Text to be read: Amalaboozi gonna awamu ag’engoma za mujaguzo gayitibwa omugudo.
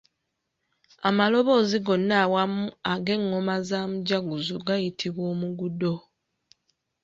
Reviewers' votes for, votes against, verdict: 2, 0, accepted